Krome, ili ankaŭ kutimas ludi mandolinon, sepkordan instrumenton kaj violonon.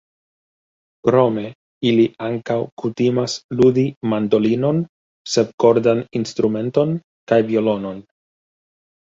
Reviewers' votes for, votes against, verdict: 1, 2, rejected